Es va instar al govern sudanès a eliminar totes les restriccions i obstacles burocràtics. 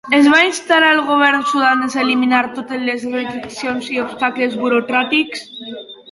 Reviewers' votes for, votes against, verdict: 1, 2, rejected